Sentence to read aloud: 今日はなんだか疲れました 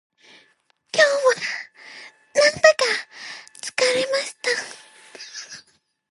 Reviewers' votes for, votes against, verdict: 2, 2, rejected